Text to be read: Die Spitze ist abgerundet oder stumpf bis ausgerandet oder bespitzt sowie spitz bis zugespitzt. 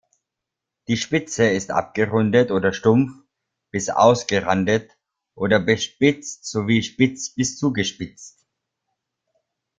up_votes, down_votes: 2, 0